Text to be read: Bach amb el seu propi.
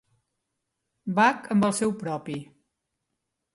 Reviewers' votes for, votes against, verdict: 3, 0, accepted